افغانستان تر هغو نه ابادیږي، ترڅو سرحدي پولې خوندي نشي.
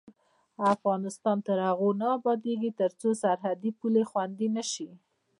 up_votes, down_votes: 1, 2